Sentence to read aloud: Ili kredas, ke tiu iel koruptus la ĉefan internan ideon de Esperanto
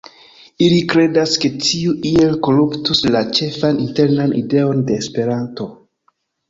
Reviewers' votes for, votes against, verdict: 2, 1, accepted